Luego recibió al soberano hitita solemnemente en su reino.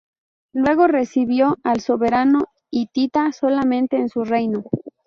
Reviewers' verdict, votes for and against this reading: rejected, 0, 2